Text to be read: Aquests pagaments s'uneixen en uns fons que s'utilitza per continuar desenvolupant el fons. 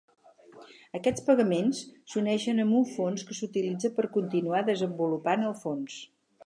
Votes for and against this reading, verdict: 0, 4, rejected